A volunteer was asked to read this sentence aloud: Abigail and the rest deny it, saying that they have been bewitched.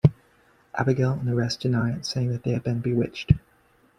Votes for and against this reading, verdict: 2, 0, accepted